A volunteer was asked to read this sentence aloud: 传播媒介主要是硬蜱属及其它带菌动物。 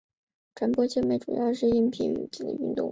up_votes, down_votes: 3, 0